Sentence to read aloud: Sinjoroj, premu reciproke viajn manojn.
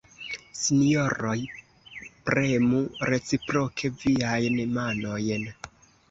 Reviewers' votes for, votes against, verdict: 2, 1, accepted